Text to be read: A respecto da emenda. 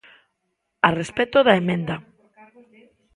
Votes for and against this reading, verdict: 2, 1, accepted